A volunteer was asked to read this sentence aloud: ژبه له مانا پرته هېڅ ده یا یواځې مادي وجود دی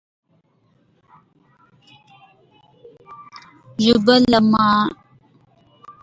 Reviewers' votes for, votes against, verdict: 0, 2, rejected